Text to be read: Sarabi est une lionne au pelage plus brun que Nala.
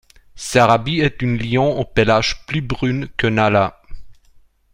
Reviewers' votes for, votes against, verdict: 0, 2, rejected